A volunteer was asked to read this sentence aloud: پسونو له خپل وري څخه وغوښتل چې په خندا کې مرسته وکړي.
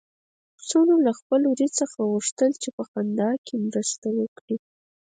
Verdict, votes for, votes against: rejected, 0, 4